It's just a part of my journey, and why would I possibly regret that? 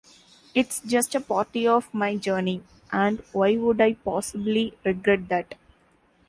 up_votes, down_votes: 1, 2